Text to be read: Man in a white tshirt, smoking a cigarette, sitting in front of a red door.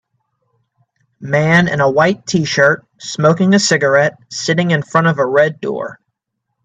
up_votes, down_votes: 2, 0